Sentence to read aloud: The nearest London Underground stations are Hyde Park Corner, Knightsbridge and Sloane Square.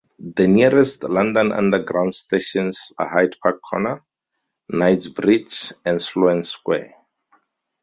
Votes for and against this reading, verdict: 4, 0, accepted